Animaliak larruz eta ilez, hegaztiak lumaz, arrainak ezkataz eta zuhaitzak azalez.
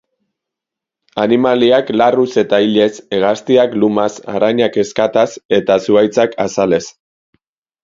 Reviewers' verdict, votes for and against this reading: accepted, 4, 0